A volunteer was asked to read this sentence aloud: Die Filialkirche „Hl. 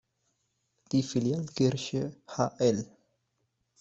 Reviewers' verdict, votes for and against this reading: rejected, 1, 2